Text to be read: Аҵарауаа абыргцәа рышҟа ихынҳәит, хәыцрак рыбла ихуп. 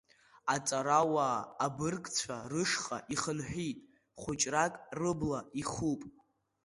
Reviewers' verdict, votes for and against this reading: rejected, 0, 2